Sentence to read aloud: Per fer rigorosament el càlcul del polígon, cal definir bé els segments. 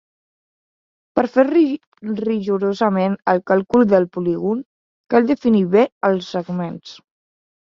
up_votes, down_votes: 1, 2